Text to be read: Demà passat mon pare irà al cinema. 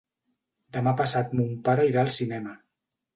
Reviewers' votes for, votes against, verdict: 4, 0, accepted